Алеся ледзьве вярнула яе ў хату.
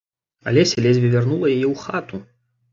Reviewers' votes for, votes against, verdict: 2, 0, accepted